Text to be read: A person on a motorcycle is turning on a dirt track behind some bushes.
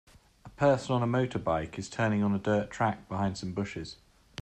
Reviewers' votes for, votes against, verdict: 0, 2, rejected